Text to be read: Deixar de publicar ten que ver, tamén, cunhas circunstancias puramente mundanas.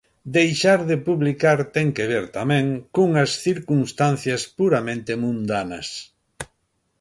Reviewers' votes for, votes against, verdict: 2, 0, accepted